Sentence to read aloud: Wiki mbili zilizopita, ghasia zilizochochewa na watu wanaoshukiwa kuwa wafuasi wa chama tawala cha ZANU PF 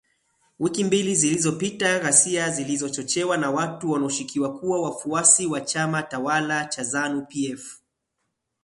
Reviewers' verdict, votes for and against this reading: accepted, 12, 0